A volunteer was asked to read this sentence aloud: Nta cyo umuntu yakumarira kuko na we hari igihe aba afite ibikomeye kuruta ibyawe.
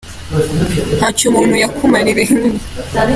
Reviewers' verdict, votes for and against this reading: rejected, 0, 2